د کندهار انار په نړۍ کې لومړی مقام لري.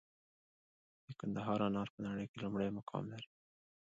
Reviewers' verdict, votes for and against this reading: rejected, 1, 2